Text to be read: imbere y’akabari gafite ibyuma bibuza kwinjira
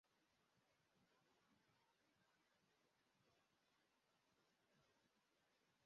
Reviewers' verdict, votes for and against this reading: rejected, 0, 2